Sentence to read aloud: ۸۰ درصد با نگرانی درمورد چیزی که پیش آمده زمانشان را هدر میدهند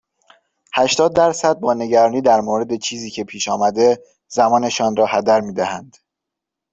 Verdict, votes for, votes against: rejected, 0, 2